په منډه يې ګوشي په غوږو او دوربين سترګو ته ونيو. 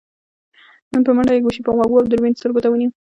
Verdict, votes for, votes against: accepted, 2, 0